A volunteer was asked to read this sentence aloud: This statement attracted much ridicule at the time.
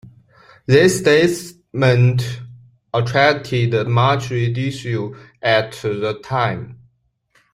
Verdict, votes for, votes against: rejected, 0, 2